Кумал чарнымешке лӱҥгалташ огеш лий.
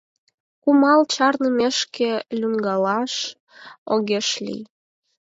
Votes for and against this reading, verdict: 0, 4, rejected